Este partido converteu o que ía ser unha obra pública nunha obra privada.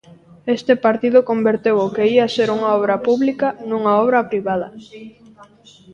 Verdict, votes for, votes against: accepted, 2, 0